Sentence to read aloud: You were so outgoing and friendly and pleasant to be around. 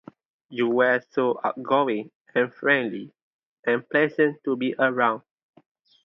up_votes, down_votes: 2, 0